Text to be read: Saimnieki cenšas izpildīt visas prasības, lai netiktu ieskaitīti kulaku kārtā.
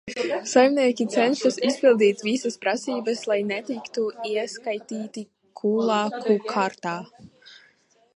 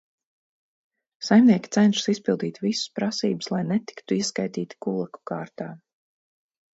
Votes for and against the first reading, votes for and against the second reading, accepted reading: 0, 2, 4, 0, second